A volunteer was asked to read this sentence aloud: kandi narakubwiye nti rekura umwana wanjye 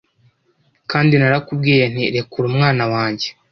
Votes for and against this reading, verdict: 2, 0, accepted